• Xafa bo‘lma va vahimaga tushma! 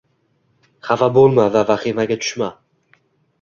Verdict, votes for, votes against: accepted, 2, 0